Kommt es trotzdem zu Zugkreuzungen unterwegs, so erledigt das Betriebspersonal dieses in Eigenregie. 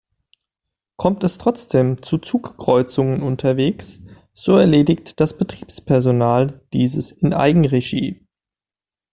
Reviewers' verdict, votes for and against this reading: accepted, 2, 0